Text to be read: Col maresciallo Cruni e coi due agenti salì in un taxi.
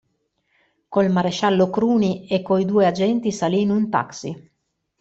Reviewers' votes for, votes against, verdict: 2, 0, accepted